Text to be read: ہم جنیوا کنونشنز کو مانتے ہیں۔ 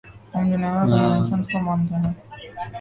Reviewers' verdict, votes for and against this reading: rejected, 0, 2